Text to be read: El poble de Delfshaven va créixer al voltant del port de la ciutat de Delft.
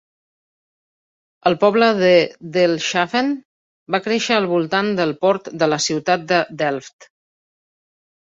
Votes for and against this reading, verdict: 1, 2, rejected